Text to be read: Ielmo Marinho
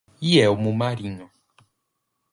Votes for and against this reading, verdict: 0, 2, rejected